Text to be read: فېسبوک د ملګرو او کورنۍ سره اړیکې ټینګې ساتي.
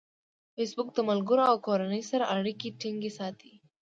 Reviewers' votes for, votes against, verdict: 2, 0, accepted